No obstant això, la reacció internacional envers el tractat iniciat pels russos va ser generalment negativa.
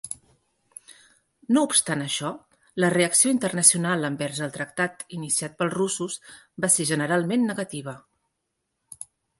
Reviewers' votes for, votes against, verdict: 3, 0, accepted